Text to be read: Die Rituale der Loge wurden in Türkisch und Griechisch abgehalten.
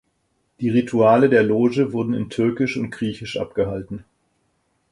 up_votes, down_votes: 4, 0